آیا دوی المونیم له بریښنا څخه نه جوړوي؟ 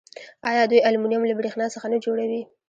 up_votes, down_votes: 3, 1